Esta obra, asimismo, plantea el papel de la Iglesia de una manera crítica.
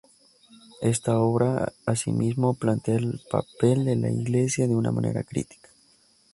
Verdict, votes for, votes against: accepted, 4, 2